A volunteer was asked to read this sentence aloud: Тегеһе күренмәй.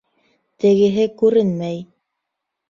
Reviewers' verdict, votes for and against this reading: accepted, 2, 0